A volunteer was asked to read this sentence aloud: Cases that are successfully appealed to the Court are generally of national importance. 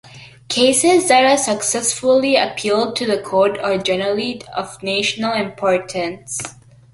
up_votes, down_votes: 2, 1